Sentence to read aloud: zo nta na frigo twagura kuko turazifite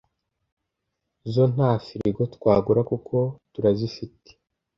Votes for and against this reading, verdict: 1, 2, rejected